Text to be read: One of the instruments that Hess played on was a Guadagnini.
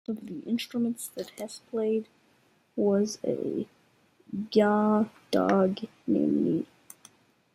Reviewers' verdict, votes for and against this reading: rejected, 0, 2